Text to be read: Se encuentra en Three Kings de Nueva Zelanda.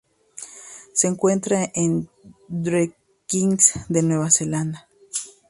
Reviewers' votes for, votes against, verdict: 0, 2, rejected